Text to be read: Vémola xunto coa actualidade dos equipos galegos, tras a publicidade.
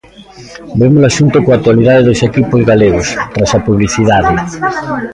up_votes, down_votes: 1, 2